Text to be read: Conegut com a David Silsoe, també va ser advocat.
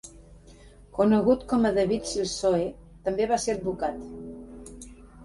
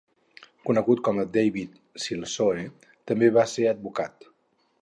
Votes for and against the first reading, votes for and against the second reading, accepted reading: 3, 0, 0, 2, first